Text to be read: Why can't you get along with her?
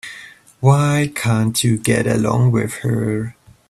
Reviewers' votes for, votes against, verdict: 4, 1, accepted